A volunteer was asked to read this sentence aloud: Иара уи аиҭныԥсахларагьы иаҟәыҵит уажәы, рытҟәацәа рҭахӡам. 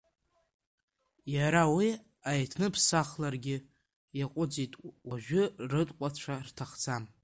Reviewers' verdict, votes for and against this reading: rejected, 0, 2